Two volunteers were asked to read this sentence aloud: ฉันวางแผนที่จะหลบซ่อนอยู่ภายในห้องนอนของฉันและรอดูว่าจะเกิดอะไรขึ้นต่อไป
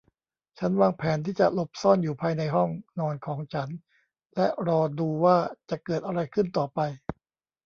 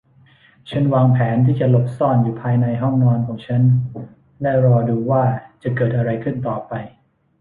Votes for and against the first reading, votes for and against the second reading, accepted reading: 1, 2, 2, 0, second